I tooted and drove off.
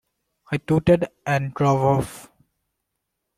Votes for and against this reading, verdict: 2, 1, accepted